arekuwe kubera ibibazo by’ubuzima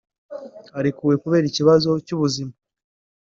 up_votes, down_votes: 1, 3